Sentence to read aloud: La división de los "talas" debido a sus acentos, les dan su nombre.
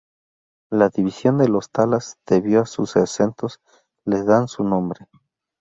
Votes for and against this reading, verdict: 0, 2, rejected